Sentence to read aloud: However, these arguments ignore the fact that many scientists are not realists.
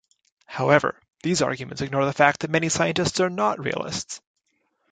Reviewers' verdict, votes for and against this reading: accepted, 2, 0